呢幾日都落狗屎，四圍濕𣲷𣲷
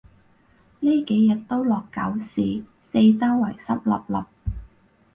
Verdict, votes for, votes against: rejected, 2, 2